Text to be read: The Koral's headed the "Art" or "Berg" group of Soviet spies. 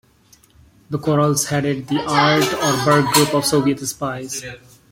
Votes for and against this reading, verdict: 0, 2, rejected